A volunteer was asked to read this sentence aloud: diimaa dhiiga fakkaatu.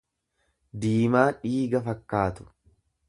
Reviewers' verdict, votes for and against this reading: accepted, 2, 0